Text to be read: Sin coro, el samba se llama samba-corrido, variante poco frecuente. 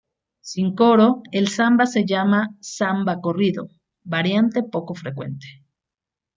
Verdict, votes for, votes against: accepted, 2, 0